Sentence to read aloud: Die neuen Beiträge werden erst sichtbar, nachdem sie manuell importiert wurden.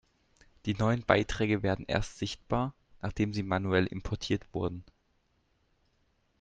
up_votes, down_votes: 2, 0